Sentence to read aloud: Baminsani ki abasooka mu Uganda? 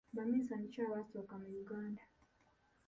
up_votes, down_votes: 2, 1